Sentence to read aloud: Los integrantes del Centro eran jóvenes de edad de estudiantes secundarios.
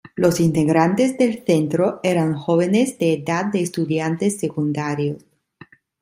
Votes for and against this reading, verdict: 2, 0, accepted